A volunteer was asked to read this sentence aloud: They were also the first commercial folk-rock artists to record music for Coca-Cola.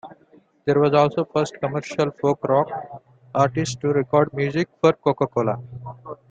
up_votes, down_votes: 2, 0